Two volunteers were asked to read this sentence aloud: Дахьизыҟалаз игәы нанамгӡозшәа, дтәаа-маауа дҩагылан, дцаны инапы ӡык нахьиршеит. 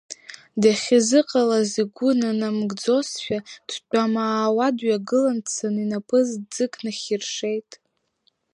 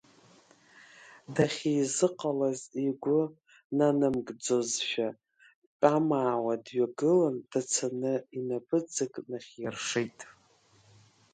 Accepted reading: first